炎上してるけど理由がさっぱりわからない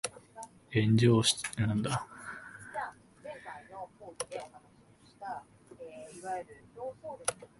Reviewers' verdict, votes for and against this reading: rejected, 0, 2